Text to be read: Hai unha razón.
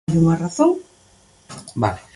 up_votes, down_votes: 0, 2